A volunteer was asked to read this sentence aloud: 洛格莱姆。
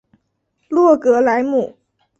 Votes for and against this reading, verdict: 2, 0, accepted